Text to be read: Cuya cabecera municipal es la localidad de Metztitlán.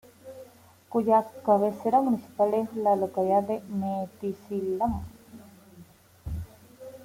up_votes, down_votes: 1, 2